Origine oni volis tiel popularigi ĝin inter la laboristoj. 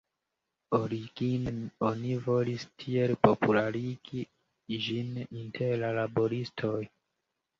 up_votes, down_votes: 1, 2